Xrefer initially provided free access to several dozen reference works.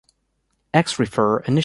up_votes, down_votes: 0, 2